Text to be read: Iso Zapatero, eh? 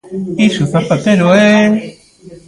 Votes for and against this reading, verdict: 1, 2, rejected